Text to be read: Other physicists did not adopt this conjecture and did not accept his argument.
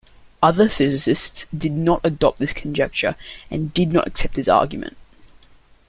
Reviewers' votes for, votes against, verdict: 2, 0, accepted